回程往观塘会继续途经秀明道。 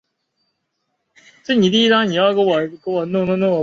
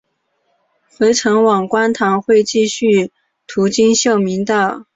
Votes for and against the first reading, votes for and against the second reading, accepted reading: 0, 9, 4, 0, second